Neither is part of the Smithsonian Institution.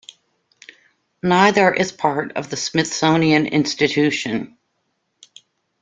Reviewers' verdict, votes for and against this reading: accepted, 2, 0